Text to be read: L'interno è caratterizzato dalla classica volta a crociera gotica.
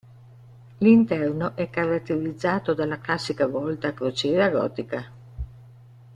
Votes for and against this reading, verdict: 1, 2, rejected